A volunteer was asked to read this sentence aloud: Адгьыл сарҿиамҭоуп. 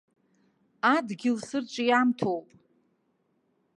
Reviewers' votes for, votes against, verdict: 0, 2, rejected